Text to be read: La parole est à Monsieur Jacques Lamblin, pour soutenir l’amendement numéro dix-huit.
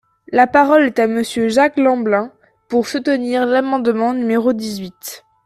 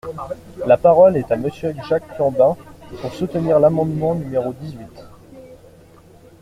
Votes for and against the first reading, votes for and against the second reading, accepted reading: 2, 0, 1, 2, first